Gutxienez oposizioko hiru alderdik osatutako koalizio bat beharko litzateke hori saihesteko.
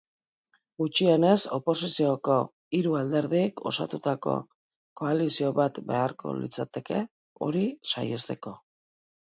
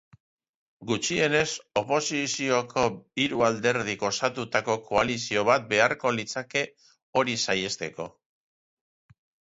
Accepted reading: first